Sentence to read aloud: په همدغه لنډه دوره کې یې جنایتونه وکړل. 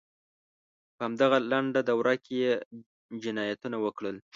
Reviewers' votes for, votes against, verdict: 2, 0, accepted